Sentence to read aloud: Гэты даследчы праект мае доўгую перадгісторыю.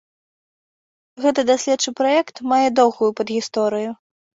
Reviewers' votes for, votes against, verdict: 1, 3, rejected